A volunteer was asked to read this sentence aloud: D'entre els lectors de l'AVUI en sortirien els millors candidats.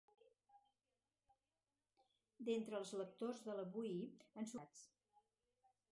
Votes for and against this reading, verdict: 0, 4, rejected